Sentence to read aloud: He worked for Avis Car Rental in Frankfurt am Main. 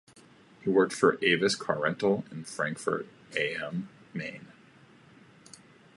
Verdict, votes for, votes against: rejected, 0, 2